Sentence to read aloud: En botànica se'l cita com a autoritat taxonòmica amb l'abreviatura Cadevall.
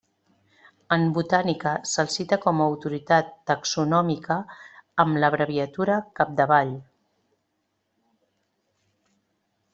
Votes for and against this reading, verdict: 0, 2, rejected